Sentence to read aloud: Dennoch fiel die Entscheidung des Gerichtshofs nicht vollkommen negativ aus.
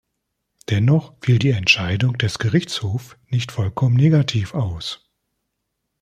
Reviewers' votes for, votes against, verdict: 0, 2, rejected